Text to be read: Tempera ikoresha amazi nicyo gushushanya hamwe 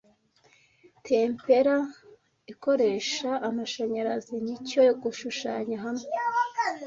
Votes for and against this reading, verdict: 1, 2, rejected